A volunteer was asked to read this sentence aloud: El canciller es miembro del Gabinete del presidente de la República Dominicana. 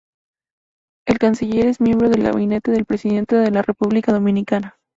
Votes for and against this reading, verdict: 2, 0, accepted